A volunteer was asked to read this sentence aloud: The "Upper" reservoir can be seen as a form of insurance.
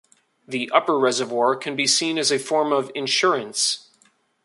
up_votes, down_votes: 2, 0